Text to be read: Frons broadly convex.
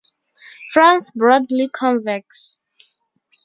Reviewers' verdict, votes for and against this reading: rejected, 0, 2